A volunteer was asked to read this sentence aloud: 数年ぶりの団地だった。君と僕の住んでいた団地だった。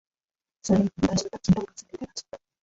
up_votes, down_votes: 5, 6